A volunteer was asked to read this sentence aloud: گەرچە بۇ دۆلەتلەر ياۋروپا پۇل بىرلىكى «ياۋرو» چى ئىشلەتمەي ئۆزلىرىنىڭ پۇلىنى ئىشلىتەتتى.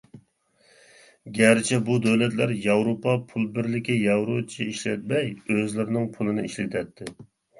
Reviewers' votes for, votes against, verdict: 2, 0, accepted